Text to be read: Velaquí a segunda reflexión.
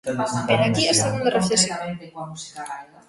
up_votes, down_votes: 0, 2